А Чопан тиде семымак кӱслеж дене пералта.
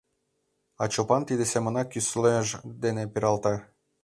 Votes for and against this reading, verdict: 2, 1, accepted